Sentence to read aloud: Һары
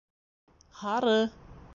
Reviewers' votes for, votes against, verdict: 2, 0, accepted